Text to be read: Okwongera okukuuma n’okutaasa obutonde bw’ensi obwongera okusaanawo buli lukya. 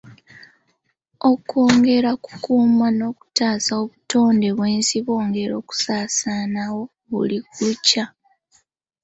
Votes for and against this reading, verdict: 2, 0, accepted